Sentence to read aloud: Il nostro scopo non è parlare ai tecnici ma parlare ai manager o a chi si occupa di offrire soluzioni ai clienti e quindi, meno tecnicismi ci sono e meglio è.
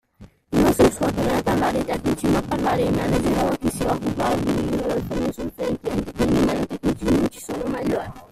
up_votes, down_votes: 0, 2